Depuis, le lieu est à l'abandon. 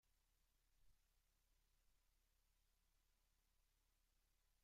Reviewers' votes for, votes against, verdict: 0, 2, rejected